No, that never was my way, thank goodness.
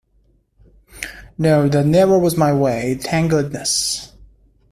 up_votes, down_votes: 2, 0